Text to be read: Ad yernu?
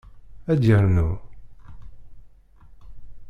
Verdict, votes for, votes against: rejected, 0, 2